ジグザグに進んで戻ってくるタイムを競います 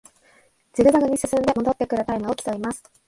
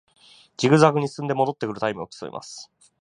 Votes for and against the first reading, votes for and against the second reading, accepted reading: 1, 2, 2, 0, second